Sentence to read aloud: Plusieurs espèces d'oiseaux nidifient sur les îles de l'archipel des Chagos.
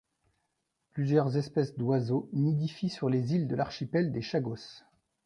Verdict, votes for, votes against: rejected, 1, 2